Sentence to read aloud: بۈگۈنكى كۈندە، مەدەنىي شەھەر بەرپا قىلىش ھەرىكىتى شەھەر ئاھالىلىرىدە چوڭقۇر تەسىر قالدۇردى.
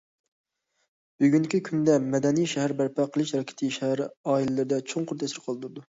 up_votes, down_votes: 1, 2